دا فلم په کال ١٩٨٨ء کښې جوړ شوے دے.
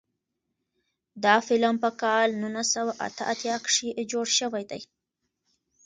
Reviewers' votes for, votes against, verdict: 0, 2, rejected